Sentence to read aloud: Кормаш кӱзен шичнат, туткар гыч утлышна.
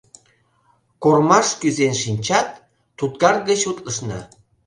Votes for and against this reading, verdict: 1, 2, rejected